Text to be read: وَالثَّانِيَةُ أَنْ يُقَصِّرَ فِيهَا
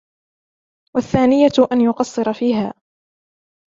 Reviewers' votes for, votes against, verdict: 2, 0, accepted